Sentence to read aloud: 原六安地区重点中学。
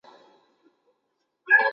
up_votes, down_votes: 0, 2